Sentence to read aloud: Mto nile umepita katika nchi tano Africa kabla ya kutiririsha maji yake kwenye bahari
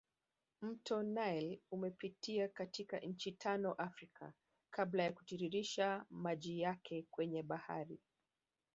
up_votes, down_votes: 0, 2